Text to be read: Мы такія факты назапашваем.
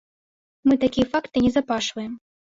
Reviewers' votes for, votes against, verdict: 0, 2, rejected